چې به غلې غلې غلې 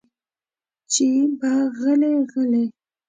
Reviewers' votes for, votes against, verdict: 2, 1, accepted